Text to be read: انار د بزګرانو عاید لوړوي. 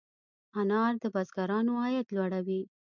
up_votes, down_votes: 2, 0